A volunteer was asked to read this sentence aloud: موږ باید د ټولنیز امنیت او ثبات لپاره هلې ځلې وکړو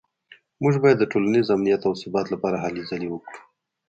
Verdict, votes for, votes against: rejected, 0, 2